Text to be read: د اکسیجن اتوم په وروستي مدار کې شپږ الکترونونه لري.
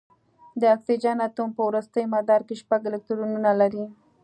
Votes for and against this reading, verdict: 2, 0, accepted